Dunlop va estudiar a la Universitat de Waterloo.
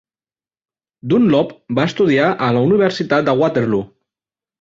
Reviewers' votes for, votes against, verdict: 1, 2, rejected